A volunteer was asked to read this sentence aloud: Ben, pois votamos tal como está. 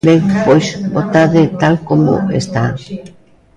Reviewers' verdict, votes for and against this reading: rejected, 0, 2